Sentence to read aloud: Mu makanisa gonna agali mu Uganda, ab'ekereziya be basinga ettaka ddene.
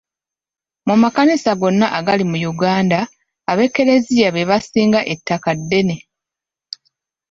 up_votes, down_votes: 2, 1